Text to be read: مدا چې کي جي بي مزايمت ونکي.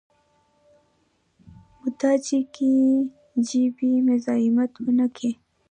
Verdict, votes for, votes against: rejected, 1, 2